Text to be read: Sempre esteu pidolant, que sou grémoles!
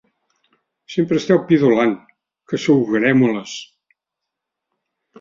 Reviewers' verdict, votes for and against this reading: accepted, 2, 0